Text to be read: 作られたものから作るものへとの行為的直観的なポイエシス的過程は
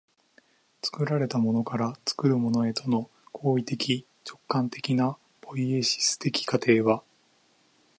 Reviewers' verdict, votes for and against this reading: accepted, 2, 0